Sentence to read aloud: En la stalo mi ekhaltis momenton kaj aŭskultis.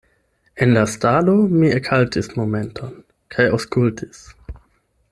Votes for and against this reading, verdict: 8, 0, accepted